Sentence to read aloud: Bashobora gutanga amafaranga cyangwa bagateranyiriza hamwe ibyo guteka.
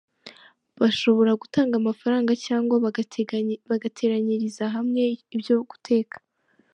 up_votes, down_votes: 0, 3